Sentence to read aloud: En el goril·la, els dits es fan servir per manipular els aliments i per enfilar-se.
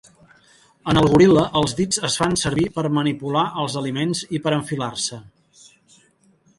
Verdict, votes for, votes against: accepted, 3, 1